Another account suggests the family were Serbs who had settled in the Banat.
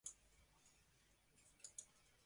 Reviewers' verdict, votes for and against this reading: rejected, 1, 2